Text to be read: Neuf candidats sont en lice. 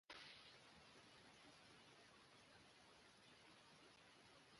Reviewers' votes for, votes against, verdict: 0, 2, rejected